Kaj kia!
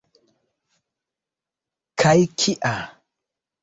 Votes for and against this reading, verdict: 2, 0, accepted